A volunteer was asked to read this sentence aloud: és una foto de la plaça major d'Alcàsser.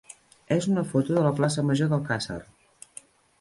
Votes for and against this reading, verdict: 4, 0, accepted